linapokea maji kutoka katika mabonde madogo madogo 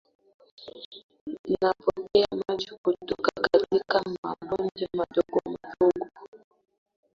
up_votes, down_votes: 1, 2